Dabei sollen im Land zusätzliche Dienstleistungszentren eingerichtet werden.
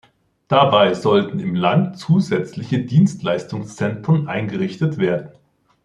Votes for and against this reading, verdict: 1, 2, rejected